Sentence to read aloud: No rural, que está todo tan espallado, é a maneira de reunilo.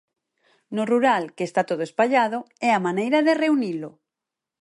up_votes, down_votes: 0, 4